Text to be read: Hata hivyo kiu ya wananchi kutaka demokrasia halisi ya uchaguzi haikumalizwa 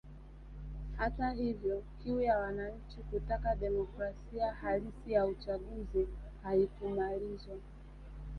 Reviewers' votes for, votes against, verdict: 2, 0, accepted